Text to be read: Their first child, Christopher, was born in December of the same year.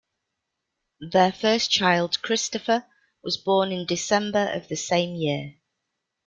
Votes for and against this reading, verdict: 1, 2, rejected